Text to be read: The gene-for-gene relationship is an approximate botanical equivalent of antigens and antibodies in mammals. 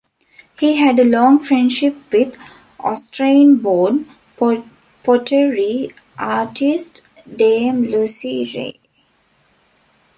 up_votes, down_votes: 0, 2